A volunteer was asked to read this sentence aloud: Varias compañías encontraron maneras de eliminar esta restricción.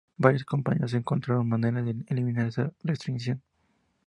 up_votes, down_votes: 2, 0